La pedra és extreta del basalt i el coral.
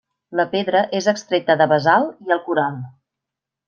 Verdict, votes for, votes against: rejected, 1, 2